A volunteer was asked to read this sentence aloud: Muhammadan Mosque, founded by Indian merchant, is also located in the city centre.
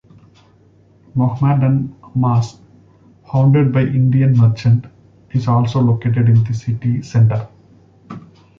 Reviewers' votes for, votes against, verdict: 2, 0, accepted